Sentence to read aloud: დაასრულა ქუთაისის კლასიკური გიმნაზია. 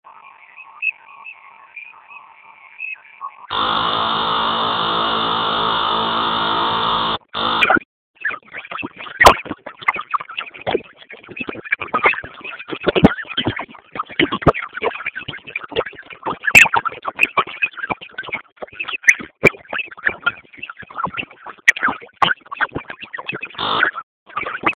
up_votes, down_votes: 0, 2